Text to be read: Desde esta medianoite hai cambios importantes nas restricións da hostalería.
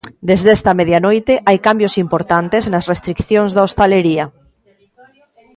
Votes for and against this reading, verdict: 1, 2, rejected